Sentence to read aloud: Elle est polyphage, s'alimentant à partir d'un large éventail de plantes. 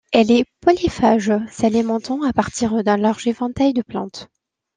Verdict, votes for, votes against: accepted, 2, 0